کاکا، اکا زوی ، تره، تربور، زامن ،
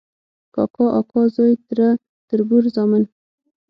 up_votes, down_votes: 0, 6